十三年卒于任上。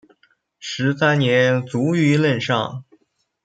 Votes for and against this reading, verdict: 3, 0, accepted